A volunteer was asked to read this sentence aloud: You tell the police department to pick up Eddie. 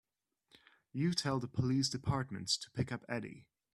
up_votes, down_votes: 1, 3